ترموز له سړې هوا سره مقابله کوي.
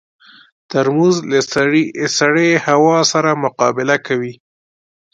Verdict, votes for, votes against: accepted, 2, 0